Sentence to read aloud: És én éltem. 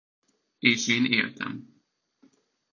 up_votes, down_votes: 2, 1